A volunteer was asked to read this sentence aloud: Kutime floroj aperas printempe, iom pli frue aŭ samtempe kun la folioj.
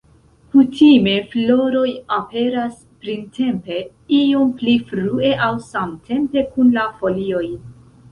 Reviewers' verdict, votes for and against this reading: rejected, 0, 2